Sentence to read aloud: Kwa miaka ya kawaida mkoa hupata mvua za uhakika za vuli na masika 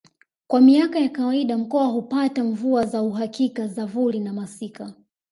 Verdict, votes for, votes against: rejected, 0, 2